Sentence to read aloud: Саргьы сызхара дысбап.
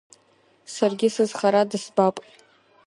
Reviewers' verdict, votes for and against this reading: accepted, 2, 0